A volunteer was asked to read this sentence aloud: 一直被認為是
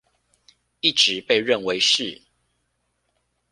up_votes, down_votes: 2, 0